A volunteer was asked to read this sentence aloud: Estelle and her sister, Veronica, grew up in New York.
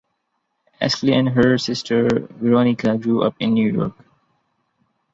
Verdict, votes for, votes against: accepted, 2, 0